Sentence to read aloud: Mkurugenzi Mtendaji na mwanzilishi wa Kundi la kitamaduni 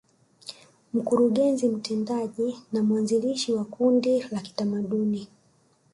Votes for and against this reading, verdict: 0, 2, rejected